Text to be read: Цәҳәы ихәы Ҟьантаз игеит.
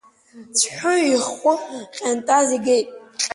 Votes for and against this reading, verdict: 1, 3, rejected